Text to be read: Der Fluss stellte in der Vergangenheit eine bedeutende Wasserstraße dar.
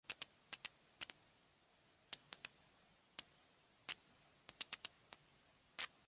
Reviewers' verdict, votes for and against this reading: rejected, 0, 2